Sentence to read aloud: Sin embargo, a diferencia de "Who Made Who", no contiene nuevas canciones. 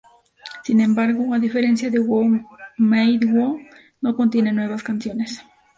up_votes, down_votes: 2, 0